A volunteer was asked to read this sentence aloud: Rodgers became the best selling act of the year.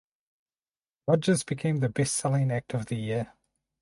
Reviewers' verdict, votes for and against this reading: accepted, 4, 0